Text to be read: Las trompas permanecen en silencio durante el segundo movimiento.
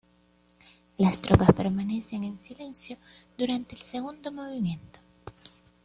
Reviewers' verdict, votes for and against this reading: rejected, 1, 2